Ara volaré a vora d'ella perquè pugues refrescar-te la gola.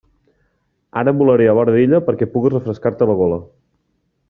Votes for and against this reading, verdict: 2, 0, accepted